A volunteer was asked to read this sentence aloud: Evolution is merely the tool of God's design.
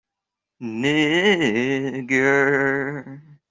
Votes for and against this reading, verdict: 0, 2, rejected